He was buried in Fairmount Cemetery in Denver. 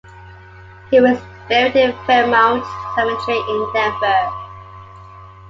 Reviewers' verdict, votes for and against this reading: rejected, 1, 2